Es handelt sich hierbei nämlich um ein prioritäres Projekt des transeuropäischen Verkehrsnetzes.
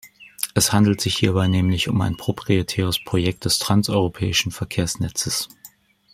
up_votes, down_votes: 0, 2